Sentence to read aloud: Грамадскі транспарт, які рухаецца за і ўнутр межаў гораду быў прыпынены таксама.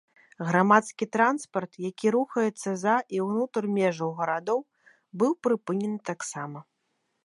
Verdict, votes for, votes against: rejected, 1, 2